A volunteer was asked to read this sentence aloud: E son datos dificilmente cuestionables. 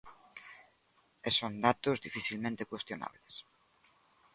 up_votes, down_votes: 2, 0